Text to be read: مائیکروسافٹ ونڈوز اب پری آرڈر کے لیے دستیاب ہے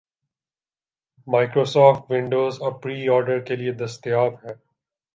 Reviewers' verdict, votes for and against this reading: accepted, 2, 0